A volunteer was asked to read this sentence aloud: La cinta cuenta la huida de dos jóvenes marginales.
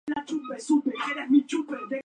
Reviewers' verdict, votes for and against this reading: rejected, 0, 2